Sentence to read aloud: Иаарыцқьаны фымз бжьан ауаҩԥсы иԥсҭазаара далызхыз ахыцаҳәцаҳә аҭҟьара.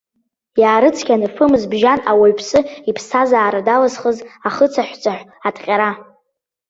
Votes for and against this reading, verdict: 2, 0, accepted